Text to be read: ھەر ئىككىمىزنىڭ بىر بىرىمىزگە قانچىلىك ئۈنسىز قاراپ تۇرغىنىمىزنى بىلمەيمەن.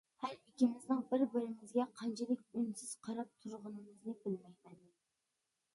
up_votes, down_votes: 2, 1